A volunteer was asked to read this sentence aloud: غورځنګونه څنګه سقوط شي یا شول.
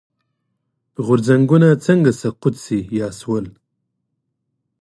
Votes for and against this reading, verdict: 2, 0, accepted